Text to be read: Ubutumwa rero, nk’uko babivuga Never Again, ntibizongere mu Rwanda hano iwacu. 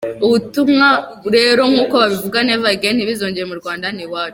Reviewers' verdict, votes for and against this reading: rejected, 1, 2